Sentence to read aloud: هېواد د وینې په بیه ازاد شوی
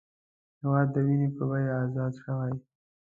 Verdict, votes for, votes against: accepted, 2, 0